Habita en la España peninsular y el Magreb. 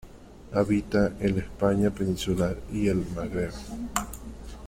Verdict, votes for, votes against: accepted, 2, 0